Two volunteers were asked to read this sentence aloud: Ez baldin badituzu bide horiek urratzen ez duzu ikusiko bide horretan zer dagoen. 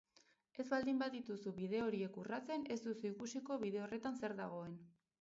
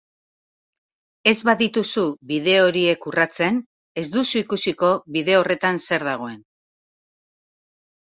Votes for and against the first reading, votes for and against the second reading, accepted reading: 4, 0, 0, 2, first